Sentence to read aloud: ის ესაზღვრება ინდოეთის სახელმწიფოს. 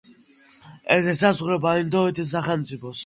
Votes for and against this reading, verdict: 2, 0, accepted